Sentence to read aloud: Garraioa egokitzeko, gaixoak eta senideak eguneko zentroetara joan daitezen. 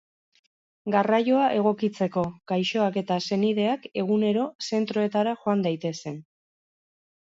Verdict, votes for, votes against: rejected, 0, 2